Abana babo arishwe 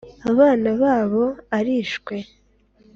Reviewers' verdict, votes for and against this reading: accepted, 3, 0